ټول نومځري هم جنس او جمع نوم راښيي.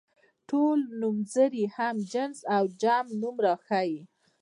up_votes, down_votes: 0, 2